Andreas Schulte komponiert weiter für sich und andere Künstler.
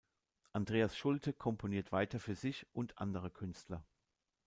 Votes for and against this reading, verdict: 2, 0, accepted